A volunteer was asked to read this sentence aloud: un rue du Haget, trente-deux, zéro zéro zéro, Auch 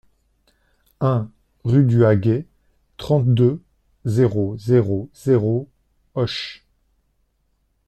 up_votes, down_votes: 0, 2